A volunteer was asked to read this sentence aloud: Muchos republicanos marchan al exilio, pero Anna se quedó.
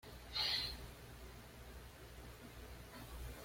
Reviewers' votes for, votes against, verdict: 1, 2, rejected